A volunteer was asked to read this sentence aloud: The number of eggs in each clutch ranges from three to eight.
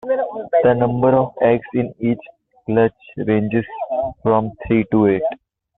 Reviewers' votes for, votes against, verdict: 0, 2, rejected